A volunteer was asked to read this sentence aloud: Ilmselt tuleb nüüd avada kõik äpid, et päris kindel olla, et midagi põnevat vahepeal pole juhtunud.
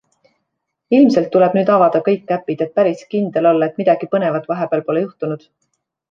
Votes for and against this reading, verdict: 2, 0, accepted